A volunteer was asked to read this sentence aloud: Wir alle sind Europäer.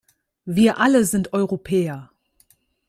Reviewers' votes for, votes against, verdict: 2, 0, accepted